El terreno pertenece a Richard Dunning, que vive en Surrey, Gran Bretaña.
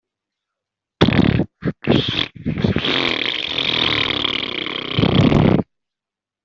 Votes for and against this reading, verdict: 0, 2, rejected